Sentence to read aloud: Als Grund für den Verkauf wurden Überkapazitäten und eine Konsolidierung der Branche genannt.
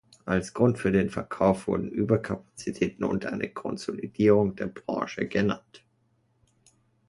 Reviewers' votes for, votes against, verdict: 2, 0, accepted